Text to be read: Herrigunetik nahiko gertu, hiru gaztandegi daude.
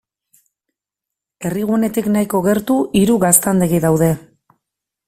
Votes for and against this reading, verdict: 2, 0, accepted